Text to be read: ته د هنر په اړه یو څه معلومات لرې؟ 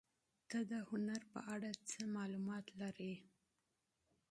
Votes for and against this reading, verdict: 1, 2, rejected